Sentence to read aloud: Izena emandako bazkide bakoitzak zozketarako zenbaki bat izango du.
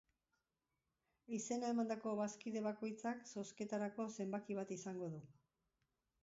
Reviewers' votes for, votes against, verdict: 2, 0, accepted